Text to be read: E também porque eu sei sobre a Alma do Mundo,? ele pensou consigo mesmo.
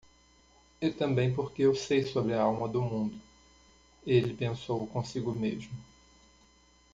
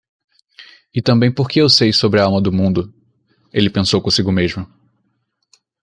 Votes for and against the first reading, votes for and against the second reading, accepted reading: 1, 2, 2, 0, second